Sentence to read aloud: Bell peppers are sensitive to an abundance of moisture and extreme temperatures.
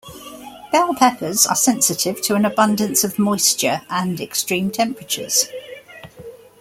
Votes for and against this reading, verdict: 2, 0, accepted